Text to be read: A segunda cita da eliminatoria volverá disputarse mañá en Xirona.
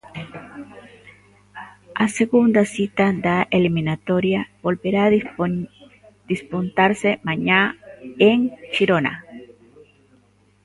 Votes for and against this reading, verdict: 0, 2, rejected